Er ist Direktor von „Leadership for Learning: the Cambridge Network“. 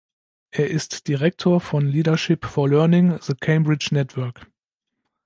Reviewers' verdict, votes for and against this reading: accepted, 2, 0